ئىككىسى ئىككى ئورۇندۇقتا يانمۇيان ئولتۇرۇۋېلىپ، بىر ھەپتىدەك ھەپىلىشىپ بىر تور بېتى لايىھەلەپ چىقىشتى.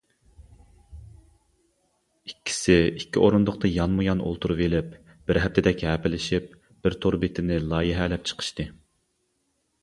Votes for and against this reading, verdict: 0, 2, rejected